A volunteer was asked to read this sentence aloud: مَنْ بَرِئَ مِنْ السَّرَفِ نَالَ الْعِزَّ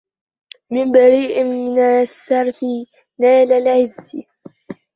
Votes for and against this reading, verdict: 0, 2, rejected